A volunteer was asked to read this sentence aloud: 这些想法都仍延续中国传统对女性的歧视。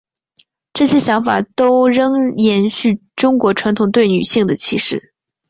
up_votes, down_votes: 2, 0